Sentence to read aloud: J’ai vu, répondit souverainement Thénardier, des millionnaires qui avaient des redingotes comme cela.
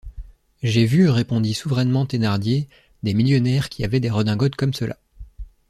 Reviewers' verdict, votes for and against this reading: accepted, 2, 0